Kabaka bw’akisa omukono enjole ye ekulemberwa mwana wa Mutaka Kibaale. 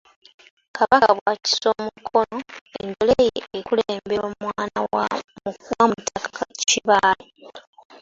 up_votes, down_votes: 1, 2